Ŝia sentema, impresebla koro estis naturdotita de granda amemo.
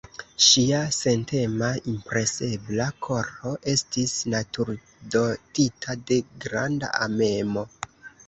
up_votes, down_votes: 0, 2